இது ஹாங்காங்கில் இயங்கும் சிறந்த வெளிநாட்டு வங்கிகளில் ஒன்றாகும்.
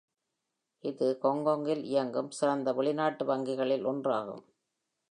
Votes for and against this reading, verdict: 2, 0, accepted